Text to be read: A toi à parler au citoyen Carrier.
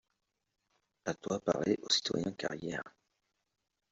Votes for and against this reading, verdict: 0, 2, rejected